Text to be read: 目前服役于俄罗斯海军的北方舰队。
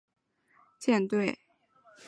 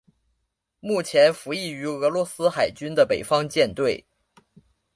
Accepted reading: second